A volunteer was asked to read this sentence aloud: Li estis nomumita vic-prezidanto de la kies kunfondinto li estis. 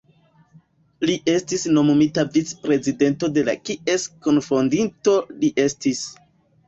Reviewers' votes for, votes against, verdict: 2, 1, accepted